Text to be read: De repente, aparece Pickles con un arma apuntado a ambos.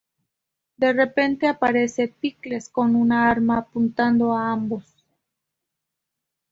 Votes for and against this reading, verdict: 2, 0, accepted